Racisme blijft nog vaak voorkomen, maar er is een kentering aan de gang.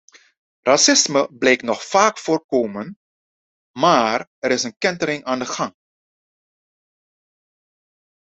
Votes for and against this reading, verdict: 1, 2, rejected